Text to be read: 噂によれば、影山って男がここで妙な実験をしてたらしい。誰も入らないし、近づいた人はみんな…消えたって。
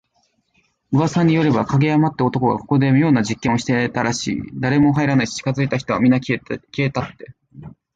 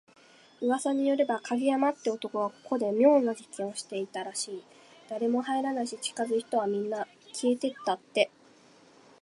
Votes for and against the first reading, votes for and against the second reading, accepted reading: 2, 1, 1, 2, first